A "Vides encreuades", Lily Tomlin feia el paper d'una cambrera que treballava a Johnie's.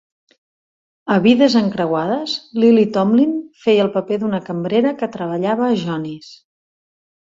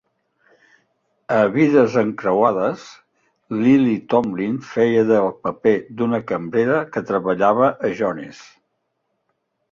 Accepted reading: first